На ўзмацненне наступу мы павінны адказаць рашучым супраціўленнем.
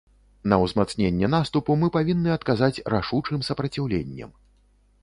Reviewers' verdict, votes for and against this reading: rejected, 0, 2